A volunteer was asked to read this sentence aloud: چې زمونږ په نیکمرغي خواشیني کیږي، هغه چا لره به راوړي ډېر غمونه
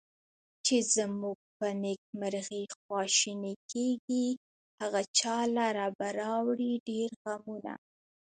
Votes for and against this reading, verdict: 2, 0, accepted